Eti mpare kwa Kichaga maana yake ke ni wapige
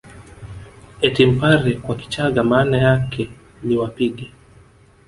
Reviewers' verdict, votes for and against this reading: rejected, 0, 2